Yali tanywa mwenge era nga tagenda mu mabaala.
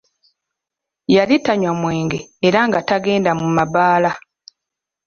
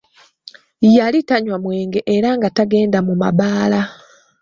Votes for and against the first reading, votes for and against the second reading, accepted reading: 2, 0, 1, 2, first